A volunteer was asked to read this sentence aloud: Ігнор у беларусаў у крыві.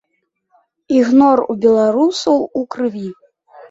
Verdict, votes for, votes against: accepted, 2, 0